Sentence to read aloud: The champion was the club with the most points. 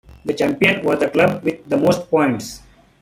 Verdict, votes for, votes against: rejected, 0, 2